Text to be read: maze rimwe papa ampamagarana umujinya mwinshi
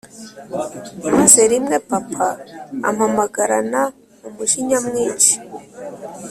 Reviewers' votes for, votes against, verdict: 2, 0, accepted